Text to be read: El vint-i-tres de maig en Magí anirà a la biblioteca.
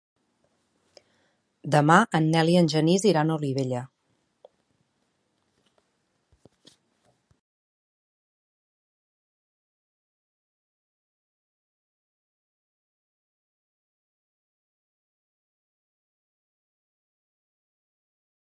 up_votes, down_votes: 0, 2